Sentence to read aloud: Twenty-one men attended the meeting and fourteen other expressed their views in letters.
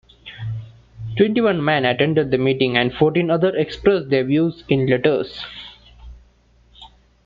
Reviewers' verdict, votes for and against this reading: accepted, 2, 0